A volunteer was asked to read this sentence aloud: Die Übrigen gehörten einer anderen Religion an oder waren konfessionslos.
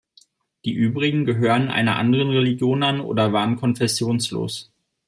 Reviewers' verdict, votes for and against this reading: accepted, 2, 0